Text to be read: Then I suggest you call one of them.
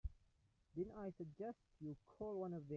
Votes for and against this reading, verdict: 0, 2, rejected